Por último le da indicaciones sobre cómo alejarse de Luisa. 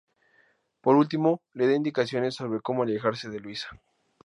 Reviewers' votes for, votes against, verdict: 2, 0, accepted